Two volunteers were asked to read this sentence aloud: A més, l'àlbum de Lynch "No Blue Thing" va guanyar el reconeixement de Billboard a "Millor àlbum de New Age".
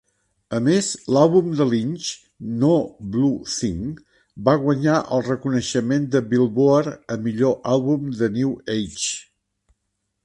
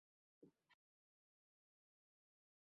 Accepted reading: first